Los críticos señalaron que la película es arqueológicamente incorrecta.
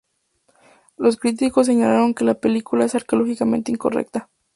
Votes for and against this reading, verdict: 0, 2, rejected